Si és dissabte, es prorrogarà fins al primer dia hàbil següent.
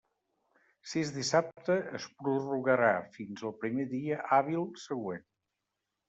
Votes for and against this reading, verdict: 2, 0, accepted